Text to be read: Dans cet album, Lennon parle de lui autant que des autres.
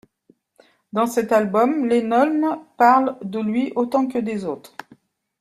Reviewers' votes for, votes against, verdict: 2, 0, accepted